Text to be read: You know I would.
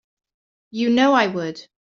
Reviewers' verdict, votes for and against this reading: accepted, 2, 0